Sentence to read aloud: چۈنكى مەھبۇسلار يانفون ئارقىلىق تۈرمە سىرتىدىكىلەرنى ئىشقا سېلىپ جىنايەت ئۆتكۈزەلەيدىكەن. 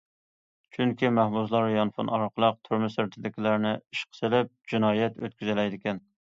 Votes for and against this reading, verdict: 2, 0, accepted